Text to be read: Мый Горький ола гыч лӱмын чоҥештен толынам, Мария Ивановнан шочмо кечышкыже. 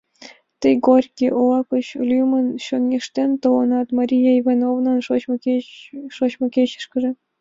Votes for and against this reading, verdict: 0, 2, rejected